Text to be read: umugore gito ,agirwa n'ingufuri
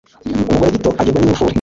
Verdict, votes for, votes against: accepted, 2, 1